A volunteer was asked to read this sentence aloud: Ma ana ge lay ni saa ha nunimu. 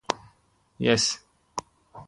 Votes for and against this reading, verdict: 0, 3, rejected